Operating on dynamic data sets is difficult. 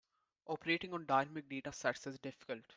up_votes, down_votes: 1, 2